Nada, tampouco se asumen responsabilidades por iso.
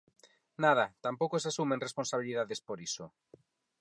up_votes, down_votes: 4, 0